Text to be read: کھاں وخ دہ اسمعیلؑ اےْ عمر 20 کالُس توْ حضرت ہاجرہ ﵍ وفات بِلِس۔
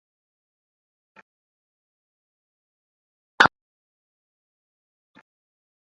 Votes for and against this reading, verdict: 0, 2, rejected